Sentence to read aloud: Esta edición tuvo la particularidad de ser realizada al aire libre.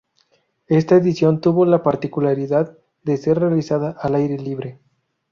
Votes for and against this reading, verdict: 2, 0, accepted